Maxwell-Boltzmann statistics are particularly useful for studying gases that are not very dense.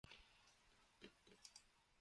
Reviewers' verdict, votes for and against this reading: rejected, 0, 2